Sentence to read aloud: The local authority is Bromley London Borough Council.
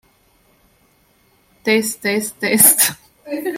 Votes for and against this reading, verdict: 0, 2, rejected